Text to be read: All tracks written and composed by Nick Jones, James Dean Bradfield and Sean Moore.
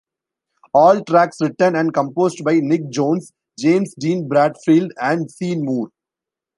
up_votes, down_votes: 1, 2